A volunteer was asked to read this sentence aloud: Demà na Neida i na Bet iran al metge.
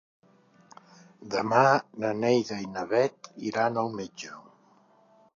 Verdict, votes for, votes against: accepted, 3, 0